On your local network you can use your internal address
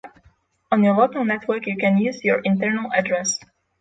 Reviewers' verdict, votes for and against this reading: accepted, 6, 0